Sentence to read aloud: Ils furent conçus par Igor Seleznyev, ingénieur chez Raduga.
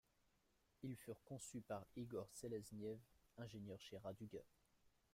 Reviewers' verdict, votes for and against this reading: accepted, 2, 0